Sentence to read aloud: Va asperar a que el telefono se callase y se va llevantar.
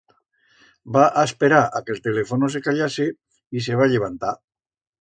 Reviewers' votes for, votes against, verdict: 2, 0, accepted